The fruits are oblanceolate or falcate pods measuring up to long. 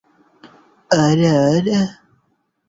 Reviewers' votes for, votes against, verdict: 0, 2, rejected